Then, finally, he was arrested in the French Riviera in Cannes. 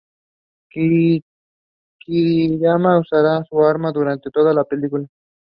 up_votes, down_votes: 0, 2